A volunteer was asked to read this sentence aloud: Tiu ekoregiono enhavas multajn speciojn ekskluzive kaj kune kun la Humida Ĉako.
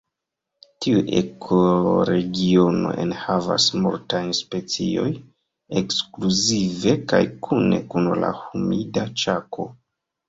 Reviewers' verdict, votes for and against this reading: rejected, 0, 2